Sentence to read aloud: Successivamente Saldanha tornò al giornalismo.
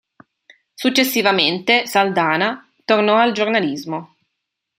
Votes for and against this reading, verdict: 2, 0, accepted